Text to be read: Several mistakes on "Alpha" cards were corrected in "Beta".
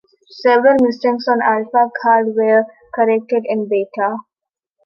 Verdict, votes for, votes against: accepted, 2, 1